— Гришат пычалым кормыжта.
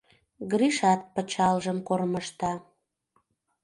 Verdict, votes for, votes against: rejected, 0, 2